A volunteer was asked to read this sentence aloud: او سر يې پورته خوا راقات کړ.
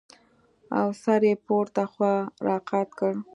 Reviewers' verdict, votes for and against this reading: accepted, 2, 0